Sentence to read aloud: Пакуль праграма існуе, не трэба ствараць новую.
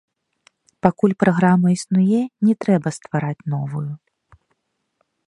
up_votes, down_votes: 1, 2